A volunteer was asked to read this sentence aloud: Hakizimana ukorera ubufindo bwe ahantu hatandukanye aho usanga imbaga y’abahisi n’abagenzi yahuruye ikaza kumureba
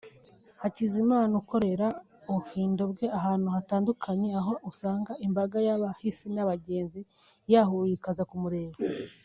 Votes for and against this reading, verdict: 2, 0, accepted